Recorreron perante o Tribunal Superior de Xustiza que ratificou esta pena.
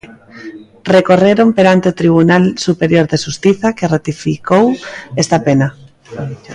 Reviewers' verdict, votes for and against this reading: rejected, 1, 2